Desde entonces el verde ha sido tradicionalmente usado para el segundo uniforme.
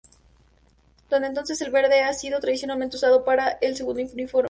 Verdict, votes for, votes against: rejected, 0, 2